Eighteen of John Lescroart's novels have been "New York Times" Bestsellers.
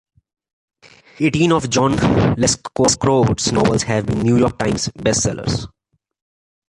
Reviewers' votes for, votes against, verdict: 2, 0, accepted